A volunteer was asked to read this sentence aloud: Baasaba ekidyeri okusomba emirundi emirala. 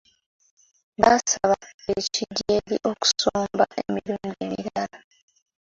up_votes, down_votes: 2, 0